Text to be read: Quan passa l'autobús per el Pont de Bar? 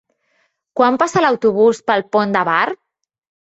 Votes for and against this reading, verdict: 0, 2, rejected